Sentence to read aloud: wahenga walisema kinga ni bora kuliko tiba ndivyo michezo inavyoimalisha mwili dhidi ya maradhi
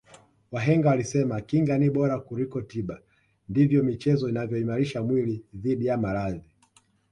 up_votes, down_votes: 2, 1